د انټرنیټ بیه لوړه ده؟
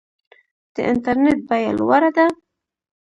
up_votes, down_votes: 3, 0